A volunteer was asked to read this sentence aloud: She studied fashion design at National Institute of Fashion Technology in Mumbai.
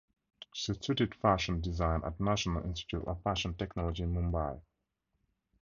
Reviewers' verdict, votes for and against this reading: accepted, 2, 0